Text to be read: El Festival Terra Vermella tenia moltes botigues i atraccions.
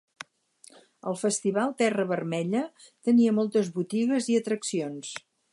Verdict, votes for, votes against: accepted, 8, 0